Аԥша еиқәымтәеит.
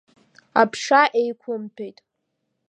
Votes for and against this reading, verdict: 2, 0, accepted